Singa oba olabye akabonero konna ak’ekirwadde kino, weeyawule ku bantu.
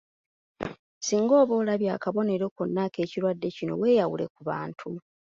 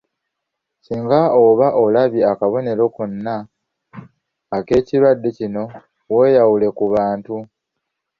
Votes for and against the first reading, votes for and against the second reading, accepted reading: 2, 1, 1, 2, first